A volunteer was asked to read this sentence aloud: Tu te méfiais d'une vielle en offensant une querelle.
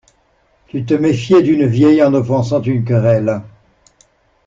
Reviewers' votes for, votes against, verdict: 2, 0, accepted